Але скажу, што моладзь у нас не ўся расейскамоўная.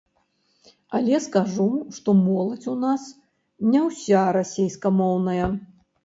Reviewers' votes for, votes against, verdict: 0, 2, rejected